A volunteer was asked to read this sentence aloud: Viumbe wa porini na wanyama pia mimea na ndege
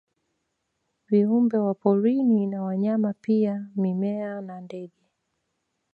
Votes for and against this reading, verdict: 0, 2, rejected